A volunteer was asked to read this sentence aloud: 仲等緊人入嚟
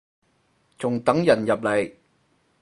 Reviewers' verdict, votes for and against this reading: rejected, 0, 4